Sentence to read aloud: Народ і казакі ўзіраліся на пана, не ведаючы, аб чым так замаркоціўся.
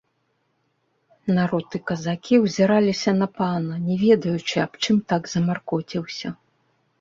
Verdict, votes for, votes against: accepted, 2, 1